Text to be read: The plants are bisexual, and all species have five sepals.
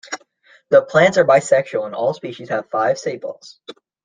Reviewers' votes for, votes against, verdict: 2, 1, accepted